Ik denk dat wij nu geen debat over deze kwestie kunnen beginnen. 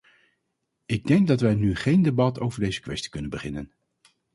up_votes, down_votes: 4, 0